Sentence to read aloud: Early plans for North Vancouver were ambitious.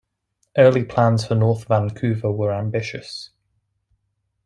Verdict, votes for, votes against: accepted, 2, 0